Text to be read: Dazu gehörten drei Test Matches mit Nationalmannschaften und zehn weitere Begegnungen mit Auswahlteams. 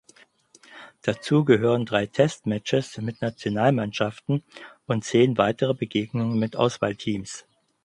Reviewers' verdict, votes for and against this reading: rejected, 2, 4